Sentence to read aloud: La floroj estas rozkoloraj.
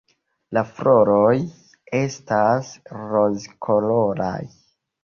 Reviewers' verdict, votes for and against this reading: accepted, 2, 1